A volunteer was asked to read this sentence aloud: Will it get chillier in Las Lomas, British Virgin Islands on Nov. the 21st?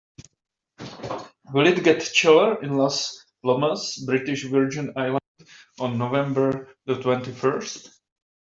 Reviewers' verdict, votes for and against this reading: rejected, 0, 2